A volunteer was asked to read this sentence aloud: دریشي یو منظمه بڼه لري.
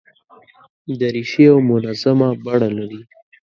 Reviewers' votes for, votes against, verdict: 2, 0, accepted